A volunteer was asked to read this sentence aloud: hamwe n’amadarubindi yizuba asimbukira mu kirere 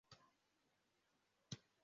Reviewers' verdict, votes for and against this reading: rejected, 0, 2